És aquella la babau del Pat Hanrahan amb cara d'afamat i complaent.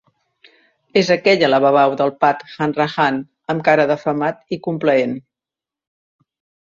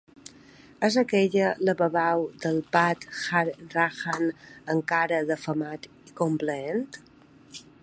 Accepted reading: first